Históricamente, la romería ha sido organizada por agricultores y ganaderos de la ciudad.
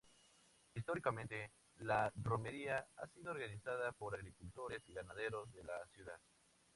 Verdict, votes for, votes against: accepted, 2, 0